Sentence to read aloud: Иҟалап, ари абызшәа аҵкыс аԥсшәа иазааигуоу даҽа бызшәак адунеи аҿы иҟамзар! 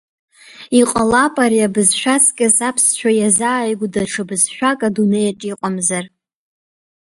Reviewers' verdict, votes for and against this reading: rejected, 1, 2